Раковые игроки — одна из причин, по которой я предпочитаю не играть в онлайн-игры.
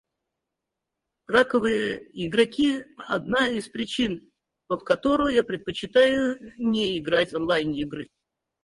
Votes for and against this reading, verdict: 4, 2, accepted